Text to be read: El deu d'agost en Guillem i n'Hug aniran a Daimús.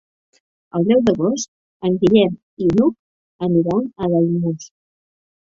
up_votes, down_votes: 1, 2